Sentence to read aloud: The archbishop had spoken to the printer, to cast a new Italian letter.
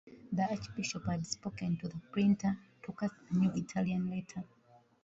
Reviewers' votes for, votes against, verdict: 2, 1, accepted